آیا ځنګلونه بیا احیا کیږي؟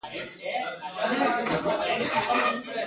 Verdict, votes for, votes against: accepted, 2, 1